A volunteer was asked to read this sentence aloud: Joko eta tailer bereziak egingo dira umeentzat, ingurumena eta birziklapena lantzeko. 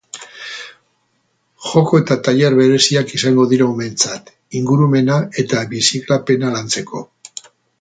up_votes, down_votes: 2, 0